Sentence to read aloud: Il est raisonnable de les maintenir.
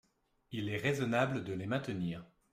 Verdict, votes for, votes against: accepted, 2, 0